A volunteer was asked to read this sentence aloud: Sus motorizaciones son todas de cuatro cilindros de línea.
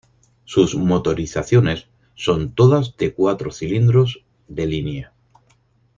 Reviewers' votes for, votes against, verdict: 6, 0, accepted